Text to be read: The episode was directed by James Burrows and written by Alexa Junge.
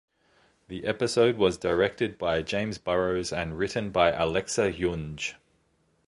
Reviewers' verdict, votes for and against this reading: accepted, 2, 0